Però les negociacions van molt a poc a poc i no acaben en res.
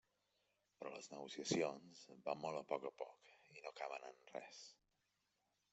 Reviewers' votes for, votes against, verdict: 1, 2, rejected